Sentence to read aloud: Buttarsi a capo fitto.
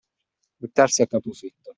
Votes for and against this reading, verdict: 2, 0, accepted